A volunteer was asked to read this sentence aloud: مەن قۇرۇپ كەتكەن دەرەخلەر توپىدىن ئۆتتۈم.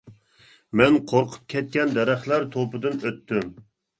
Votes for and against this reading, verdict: 1, 2, rejected